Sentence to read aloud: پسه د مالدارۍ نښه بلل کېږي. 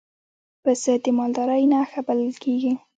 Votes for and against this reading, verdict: 3, 1, accepted